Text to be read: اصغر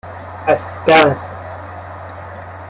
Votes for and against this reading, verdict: 2, 1, accepted